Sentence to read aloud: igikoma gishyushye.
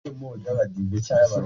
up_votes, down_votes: 0, 2